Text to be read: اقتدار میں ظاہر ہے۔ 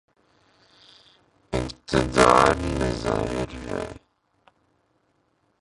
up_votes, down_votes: 0, 3